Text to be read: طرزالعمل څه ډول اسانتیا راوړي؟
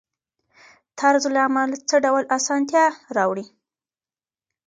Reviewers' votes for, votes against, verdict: 1, 2, rejected